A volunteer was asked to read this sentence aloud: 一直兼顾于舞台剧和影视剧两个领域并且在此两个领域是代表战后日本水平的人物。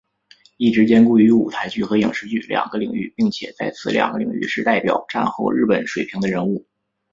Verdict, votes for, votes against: accepted, 3, 0